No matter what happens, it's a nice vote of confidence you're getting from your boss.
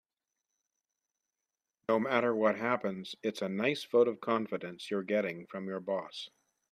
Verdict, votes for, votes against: accepted, 2, 0